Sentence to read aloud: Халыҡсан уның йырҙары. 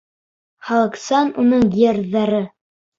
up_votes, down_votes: 1, 2